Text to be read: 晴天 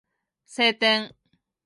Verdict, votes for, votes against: accepted, 2, 0